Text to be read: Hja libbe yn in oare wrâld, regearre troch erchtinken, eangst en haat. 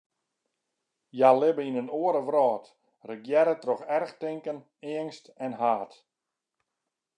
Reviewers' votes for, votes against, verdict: 2, 0, accepted